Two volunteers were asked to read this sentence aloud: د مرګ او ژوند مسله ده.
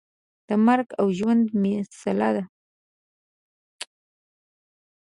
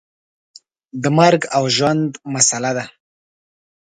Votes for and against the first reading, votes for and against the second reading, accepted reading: 1, 2, 2, 0, second